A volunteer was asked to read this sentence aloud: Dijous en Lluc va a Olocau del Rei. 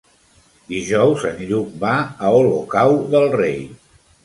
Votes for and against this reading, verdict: 3, 1, accepted